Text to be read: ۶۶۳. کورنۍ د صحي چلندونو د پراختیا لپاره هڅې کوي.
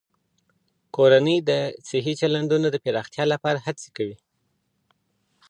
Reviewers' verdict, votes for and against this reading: rejected, 0, 2